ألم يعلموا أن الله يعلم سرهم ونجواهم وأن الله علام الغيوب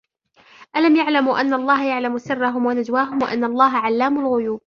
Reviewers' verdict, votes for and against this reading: accepted, 2, 0